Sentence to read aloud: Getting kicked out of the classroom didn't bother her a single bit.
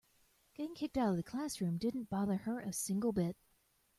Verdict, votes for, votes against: accepted, 2, 0